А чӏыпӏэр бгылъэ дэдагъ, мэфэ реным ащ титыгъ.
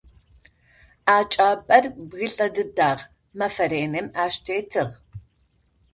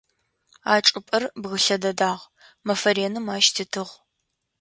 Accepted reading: second